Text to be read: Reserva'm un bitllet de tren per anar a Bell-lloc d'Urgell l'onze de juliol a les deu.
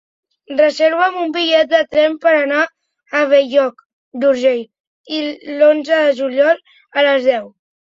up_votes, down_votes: 2, 0